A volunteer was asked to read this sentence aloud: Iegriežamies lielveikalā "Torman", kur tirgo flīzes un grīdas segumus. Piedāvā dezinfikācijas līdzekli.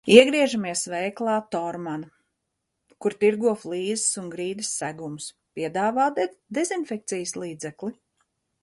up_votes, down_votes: 1, 2